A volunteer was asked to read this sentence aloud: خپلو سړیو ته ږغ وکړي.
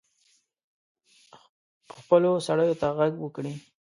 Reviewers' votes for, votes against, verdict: 1, 2, rejected